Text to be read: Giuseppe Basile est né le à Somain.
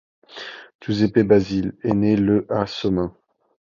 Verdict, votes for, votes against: accepted, 2, 0